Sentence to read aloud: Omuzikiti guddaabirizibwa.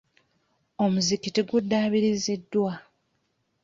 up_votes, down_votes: 1, 2